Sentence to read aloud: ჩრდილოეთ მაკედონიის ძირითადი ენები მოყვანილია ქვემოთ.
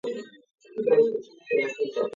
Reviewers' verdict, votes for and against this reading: rejected, 0, 2